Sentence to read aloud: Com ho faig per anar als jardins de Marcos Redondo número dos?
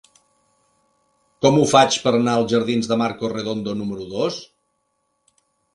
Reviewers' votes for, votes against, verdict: 3, 0, accepted